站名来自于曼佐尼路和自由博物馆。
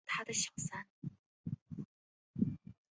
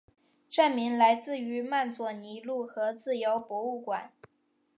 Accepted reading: second